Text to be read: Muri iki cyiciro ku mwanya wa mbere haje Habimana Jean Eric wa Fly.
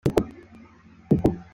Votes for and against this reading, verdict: 0, 3, rejected